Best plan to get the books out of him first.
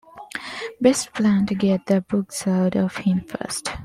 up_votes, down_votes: 2, 0